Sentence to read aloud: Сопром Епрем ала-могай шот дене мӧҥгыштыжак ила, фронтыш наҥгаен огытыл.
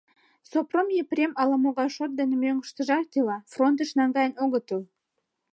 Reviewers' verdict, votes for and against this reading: accepted, 2, 0